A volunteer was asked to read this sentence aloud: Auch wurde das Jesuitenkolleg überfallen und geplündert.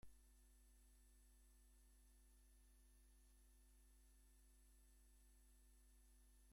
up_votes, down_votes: 0, 2